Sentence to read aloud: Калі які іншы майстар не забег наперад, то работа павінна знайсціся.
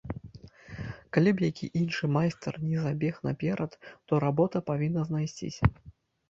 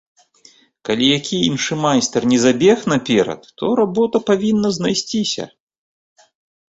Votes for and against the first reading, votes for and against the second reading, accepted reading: 1, 2, 2, 0, second